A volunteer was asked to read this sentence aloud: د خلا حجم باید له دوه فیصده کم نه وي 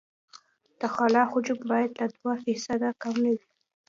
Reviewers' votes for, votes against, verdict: 2, 0, accepted